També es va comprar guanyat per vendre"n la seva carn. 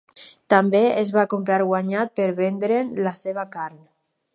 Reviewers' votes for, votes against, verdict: 2, 0, accepted